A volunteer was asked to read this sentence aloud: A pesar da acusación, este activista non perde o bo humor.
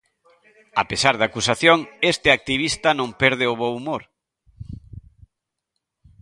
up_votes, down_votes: 2, 1